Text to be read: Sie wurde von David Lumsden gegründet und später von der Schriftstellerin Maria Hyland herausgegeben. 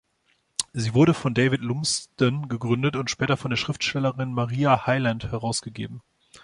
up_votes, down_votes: 2, 0